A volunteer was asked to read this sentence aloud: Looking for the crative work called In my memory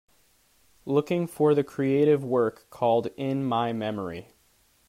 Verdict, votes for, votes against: rejected, 2, 3